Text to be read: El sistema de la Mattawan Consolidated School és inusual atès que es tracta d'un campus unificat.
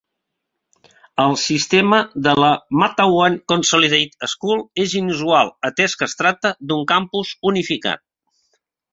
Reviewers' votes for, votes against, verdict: 3, 0, accepted